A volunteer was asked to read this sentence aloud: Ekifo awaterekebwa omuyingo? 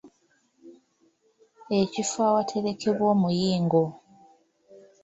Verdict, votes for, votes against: rejected, 1, 2